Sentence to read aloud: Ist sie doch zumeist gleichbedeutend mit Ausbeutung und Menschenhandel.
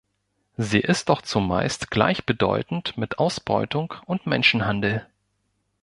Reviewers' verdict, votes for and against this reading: rejected, 0, 2